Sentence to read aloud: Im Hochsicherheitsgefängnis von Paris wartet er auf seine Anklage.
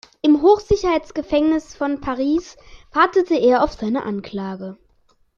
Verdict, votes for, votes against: rejected, 0, 2